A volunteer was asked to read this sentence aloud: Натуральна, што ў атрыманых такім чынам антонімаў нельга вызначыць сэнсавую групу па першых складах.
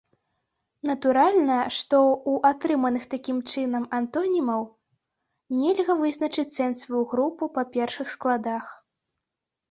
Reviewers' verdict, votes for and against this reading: rejected, 0, 2